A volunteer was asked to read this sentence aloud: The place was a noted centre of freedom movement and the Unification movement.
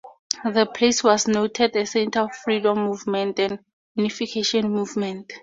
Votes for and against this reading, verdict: 0, 2, rejected